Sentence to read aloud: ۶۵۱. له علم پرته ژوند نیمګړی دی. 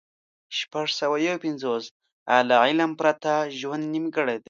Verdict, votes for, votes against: rejected, 0, 2